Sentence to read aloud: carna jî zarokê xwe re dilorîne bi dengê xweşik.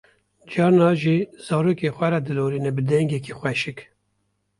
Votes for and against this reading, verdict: 1, 2, rejected